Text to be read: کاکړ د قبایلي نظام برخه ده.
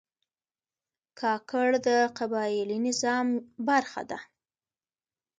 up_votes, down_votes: 2, 1